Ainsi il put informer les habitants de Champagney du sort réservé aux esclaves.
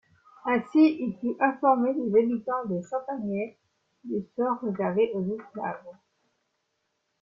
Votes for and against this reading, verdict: 2, 0, accepted